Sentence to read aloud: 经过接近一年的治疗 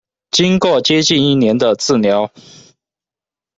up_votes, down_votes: 1, 2